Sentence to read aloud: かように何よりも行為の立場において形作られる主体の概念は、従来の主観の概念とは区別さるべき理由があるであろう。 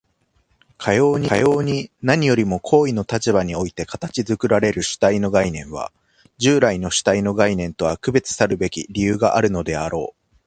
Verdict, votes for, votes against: rejected, 1, 2